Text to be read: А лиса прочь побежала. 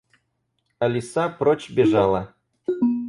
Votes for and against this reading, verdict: 2, 4, rejected